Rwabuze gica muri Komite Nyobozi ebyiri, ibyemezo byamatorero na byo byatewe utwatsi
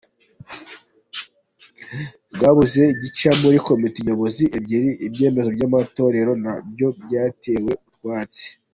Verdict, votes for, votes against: accepted, 2, 0